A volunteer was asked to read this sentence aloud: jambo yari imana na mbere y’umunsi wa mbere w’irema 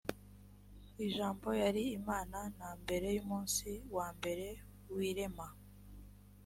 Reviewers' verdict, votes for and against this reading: accepted, 2, 1